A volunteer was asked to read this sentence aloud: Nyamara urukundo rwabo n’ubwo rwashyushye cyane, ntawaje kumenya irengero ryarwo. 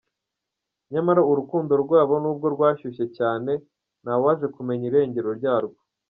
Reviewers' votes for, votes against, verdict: 2, 1, accepted